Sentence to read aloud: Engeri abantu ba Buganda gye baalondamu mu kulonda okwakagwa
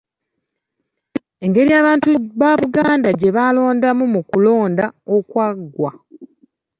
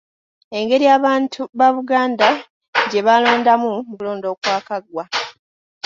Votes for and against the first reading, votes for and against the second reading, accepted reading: 1, 2, 2, 1, second